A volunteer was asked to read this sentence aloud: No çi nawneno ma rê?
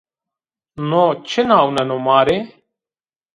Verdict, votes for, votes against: rejected, 0, 2